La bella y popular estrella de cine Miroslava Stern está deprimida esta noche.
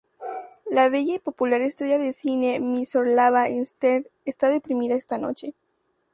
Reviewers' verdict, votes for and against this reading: rejected, 0, 2